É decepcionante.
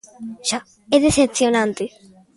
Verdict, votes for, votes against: rejected, 0, 2